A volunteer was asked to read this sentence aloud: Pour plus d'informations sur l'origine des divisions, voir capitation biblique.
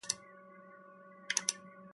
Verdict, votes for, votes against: rejected, 0, 2